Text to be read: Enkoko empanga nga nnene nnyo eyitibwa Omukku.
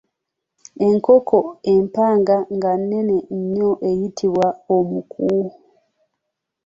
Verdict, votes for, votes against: accepted, 2, 0